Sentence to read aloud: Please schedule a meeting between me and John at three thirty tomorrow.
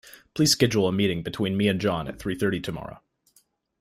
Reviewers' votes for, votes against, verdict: 2, 0, accepted